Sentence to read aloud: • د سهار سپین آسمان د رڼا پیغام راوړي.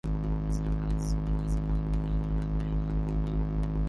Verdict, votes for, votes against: rejected, 0, 2